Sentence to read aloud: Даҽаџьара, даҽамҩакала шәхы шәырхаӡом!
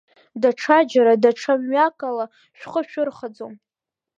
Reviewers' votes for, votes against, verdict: 2, 0, accepted